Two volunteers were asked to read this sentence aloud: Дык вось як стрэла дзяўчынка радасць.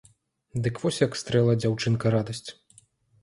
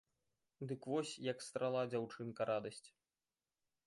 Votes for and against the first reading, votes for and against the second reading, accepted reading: 2, 0, 0, 3, first